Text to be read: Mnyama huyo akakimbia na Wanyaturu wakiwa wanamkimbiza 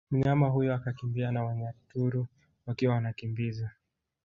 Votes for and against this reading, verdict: 0, 2, rejected